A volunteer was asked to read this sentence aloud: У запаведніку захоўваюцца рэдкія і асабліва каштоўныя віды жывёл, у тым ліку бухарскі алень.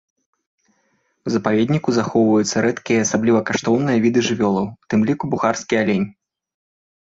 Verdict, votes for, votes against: rejected, 2, 4